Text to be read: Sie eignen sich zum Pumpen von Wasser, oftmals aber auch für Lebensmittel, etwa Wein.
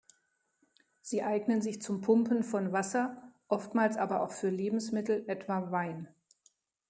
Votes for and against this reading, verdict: 2, 0, accepted